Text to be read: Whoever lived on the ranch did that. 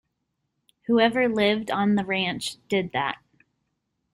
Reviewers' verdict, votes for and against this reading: accepted, 2, 0